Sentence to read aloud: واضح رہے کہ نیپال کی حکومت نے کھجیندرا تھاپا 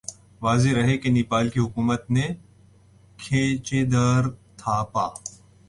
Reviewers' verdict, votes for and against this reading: rejected, 0, 2